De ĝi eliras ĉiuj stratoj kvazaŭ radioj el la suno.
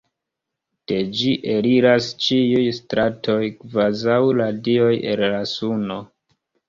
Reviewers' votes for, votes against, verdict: 2, 0, accepted